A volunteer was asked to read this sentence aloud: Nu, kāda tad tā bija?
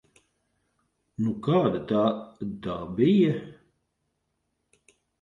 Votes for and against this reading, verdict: 0, 2, rejected